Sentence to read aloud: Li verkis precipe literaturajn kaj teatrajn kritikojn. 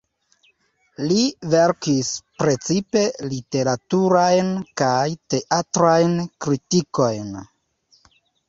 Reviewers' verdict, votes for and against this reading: accepted, 2, 0